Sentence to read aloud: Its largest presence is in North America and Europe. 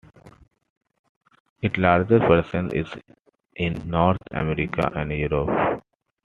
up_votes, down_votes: 2, 1